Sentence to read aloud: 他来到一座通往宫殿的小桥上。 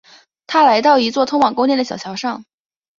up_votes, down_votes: 2, 0